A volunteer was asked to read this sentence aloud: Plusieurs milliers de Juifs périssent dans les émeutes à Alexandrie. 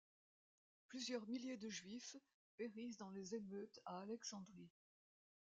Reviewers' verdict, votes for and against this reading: accepted, 2, 0